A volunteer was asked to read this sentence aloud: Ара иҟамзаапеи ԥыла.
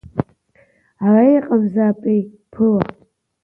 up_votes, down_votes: 1, 2